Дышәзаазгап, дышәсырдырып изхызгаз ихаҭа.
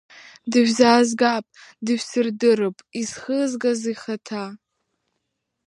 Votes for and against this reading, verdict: 2, 0, accepted